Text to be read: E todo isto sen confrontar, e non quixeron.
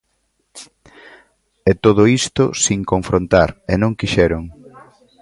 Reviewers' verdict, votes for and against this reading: rejected, 1, 2